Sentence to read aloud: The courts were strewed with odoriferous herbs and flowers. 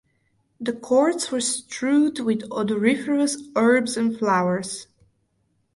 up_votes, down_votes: 4, 0